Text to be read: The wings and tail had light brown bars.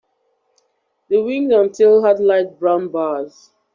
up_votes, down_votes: 1, 2